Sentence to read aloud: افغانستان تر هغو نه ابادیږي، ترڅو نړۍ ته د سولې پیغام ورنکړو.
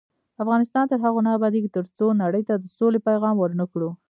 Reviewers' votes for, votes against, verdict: 1, 2, rejected